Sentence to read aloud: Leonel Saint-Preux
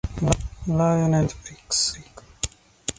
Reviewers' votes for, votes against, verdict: 0, 3, rejected